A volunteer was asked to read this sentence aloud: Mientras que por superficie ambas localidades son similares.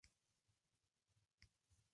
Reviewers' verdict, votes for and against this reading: rejected, 0, 2